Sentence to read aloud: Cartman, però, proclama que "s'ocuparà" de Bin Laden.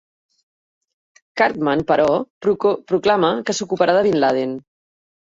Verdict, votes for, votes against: rejected, 0, 2